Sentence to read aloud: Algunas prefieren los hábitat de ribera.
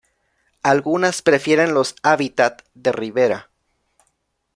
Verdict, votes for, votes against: accepted, 2, 0